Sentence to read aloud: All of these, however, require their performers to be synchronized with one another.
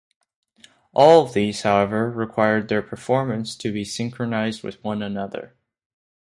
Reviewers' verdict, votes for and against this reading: rejected, 0, 2